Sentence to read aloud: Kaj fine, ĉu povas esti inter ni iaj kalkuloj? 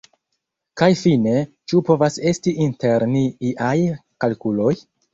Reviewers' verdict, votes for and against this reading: rejected, 1, 2